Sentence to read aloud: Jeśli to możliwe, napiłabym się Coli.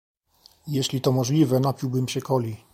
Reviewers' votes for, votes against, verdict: 2, 0, accepted